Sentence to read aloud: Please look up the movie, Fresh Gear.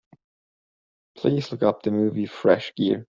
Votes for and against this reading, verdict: 2, 0, accepted